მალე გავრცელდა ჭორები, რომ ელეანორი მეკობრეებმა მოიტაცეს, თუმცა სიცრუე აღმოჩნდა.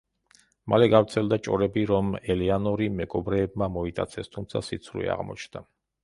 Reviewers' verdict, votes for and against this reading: accepted, 2, 0